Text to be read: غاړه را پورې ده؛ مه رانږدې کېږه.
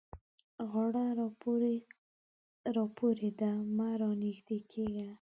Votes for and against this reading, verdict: 1, 2, rejected